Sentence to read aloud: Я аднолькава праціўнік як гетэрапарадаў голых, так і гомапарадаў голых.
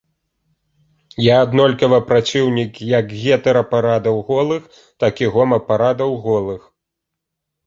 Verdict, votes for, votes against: accepted, 2, 0